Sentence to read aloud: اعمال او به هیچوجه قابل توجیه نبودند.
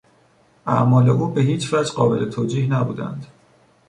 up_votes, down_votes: 2, 0